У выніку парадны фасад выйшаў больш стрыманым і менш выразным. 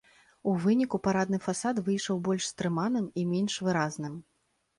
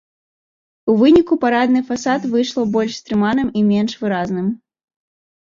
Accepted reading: second